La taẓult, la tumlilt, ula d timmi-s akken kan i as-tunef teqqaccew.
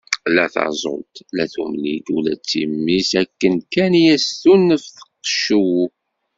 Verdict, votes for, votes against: rejected, 1, 2